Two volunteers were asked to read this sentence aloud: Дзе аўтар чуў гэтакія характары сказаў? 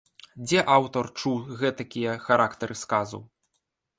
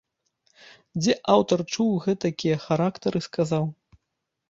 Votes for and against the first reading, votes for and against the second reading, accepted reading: 2, 0, 2, 3, first